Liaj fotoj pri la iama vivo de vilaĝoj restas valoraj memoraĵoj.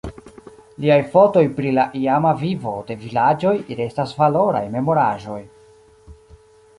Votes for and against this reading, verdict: 2, 0, accepted